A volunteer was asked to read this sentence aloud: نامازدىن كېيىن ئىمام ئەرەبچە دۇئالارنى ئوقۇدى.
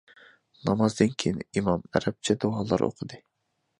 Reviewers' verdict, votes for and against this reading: rejected, 0, 2